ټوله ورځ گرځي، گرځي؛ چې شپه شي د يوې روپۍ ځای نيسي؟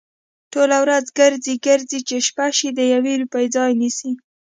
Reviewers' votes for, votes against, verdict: 2, 0, accepted